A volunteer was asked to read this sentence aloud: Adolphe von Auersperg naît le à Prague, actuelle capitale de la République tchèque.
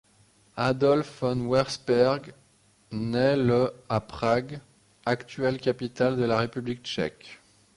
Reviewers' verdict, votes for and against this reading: accepted, 2, 0